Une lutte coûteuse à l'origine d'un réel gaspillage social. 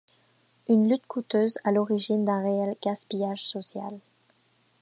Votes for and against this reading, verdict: 2, 0, accepted